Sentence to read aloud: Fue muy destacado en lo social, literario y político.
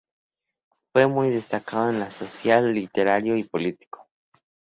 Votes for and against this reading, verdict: 2, 0, accepted